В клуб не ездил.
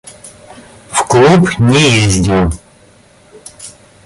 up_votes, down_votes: 2, 0